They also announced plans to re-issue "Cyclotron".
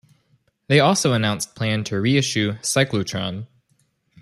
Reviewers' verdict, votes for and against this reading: rejected, 0, 2